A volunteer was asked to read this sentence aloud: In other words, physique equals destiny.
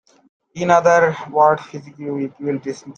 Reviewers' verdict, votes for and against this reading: rejected, 1, 2